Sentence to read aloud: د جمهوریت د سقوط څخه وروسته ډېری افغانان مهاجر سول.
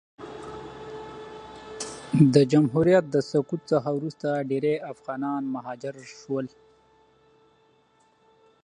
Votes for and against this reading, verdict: 2, 0, accepted